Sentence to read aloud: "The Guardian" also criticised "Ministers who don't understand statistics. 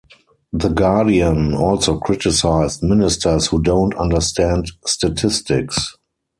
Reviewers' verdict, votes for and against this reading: accepted, 4, 0